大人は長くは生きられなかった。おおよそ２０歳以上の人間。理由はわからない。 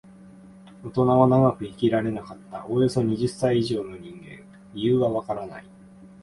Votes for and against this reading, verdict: 0, 2, rejected